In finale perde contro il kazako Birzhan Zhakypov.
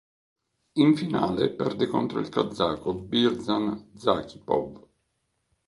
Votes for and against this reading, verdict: 2, 0, accepted